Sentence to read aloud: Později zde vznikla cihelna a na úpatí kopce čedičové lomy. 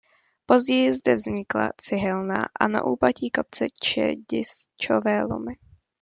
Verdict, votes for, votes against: rejected, 1, 2